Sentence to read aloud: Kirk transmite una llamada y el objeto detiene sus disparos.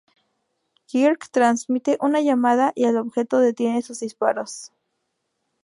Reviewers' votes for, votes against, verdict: 2, 2, rejected